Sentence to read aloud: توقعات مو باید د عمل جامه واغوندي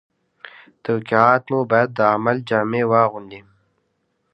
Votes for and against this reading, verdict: 1, 2, rejected